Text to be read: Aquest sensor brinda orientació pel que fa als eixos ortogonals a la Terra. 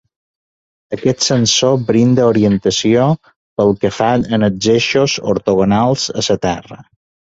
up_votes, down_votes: 2, 0